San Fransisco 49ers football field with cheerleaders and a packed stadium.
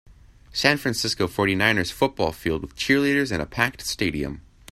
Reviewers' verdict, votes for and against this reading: rejected, 0, 2